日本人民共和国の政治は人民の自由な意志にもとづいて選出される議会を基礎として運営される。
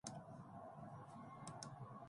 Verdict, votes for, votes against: rejected, 1, 2